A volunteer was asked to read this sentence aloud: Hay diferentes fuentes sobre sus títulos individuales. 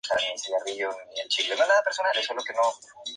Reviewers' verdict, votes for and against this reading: rejected, 0, 4